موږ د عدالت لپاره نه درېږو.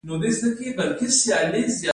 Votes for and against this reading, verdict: 0, 2, rejected